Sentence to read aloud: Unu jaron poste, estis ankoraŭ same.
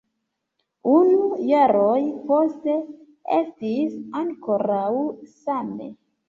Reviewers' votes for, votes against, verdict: 0, 2, rejected